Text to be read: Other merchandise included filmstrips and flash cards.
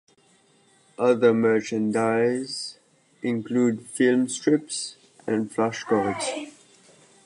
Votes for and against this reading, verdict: 0, 2, rejected